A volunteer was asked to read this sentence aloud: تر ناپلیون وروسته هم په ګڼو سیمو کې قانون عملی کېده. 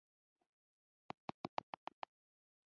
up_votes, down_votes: 0, 2